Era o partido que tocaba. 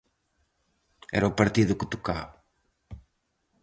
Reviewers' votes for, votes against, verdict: 4, 0, accepted